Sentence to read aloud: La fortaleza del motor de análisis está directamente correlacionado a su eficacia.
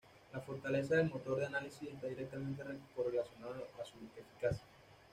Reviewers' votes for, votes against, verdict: 1, 2, rejected